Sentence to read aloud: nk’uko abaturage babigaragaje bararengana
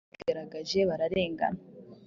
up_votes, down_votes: 3, 2